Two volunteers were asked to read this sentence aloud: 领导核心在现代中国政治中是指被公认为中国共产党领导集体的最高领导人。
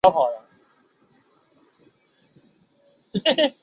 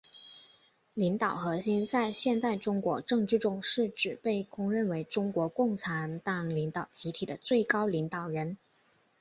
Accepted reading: second